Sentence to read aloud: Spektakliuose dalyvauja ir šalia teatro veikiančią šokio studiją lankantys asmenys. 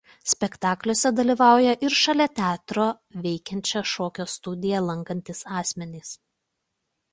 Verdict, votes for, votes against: accepted, 2, 0